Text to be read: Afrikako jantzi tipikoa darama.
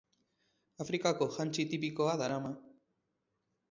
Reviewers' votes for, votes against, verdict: 4, 0, accepted